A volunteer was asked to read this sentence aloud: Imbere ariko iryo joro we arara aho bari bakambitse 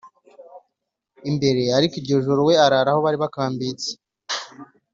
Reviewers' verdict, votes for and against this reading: accepted, 2, 0